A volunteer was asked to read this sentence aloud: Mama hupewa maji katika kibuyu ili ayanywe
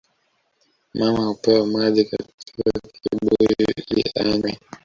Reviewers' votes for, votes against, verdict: 1, 2, rejected